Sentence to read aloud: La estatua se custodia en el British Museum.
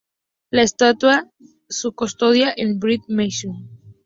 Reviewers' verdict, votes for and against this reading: rejected, 0, 2